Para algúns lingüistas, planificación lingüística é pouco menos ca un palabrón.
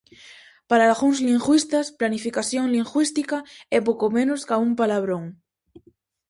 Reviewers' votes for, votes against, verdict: 4, 0, accepted